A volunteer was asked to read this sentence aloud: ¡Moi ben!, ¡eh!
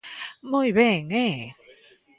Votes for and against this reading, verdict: 2, 0, accepted